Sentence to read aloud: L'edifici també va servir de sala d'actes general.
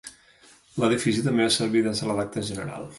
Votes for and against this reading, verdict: 1, 2, rejected